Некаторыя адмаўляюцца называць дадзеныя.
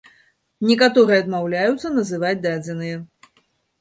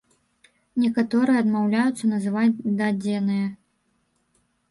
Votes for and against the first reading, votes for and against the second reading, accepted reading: 2, 1, 1, 2, first